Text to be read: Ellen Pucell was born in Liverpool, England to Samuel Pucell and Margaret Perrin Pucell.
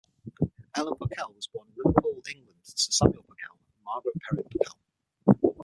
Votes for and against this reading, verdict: 0, 6, rejected